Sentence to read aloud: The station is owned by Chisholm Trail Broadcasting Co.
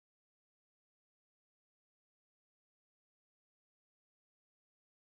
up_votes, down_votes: 0, 2